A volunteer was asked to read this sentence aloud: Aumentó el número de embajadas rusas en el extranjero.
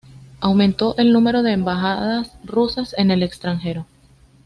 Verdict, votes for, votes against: accepted, 2, 0